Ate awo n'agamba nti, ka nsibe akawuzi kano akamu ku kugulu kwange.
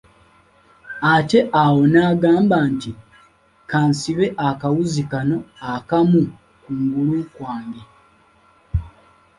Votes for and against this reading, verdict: 0, 2, rejected